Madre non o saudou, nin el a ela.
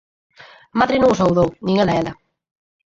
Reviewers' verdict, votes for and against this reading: accepted, 6, 0